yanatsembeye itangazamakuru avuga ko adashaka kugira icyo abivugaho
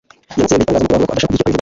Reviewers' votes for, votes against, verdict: 1, 2, rejected